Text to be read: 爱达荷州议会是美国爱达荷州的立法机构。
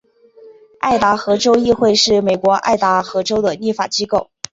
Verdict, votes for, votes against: accepted, 3, 1